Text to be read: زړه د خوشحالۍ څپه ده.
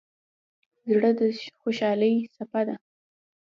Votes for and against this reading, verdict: 2, 0, accepted